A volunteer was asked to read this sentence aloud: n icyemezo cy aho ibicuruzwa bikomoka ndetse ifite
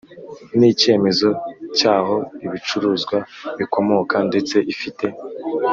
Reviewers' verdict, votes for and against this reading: accepted, 2, 0